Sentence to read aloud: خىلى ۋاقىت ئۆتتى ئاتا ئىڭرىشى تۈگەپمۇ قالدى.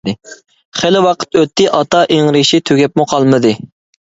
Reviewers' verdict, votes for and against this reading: rejected, 0, 2